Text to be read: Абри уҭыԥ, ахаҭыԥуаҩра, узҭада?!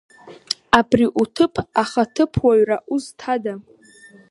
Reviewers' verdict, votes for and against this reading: accepted, 6, 0